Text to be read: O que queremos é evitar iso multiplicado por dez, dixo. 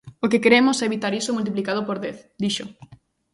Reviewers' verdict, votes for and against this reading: accepted, 2, 0